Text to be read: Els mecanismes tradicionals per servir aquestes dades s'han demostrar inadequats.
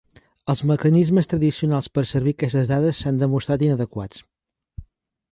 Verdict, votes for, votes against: accepted, 4, 0